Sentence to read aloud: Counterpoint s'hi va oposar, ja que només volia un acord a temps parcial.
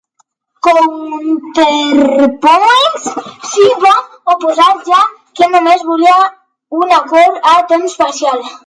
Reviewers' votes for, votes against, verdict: 1, 2, rejected